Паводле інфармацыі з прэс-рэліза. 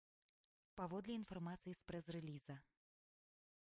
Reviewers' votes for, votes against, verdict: 1, 2, rejected